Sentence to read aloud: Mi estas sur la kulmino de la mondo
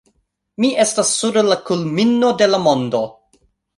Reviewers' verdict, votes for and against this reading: accepted, 2, 0